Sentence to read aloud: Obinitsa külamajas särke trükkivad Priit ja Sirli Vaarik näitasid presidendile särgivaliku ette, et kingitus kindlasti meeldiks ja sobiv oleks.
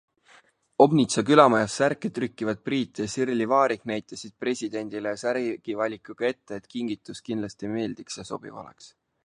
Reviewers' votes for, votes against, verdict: 0, 2, rejected